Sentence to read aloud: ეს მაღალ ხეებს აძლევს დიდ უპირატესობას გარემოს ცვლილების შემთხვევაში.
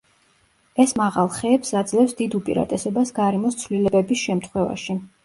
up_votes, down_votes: 1, 2